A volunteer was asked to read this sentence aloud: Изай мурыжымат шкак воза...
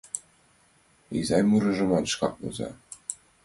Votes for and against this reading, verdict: 2, 0, accepted